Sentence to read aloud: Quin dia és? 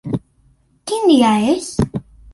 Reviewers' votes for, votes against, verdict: 2, 1, accepted